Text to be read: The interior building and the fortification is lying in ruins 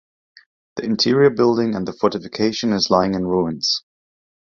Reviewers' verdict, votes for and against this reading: accepted, 2, 0